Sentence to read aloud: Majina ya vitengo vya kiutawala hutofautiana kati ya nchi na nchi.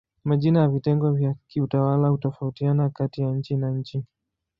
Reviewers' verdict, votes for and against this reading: accepted, 2, 0